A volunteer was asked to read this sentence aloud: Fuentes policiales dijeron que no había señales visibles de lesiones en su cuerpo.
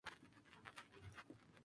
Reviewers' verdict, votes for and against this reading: rejected, 0, 2